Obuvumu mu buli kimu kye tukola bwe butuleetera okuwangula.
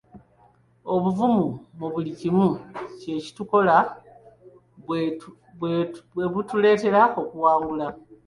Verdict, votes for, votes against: rejected, 0, 2